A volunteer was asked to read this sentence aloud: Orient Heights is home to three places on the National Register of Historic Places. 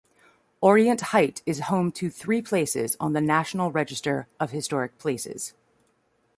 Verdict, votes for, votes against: rejected, 1, 2